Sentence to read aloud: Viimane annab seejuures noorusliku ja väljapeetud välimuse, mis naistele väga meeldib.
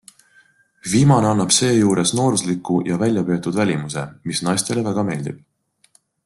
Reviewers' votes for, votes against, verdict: 2, 0, accepted